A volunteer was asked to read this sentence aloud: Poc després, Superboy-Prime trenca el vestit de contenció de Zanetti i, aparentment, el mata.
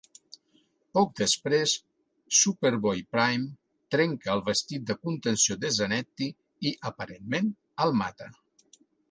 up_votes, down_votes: 2, 0